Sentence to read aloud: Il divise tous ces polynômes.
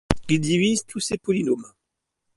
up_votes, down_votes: 2, 0